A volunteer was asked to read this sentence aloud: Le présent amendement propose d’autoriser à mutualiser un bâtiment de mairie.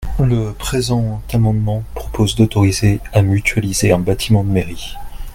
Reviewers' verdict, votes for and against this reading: accepted, 2, 0